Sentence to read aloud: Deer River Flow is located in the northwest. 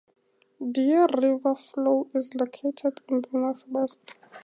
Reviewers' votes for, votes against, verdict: 2, 0, accepted